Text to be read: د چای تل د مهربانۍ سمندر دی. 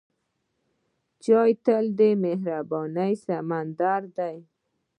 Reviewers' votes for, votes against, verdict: 0, 2, rejected